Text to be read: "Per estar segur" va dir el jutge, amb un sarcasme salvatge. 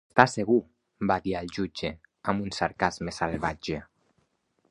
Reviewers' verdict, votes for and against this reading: rejected, 0, 2